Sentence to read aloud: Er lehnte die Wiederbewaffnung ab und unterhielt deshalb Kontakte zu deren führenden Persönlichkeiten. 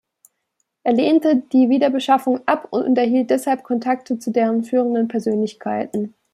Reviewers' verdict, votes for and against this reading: accepted, 2, 0